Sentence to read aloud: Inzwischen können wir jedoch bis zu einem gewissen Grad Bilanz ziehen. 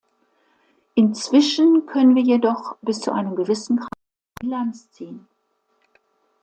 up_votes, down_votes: 0, 2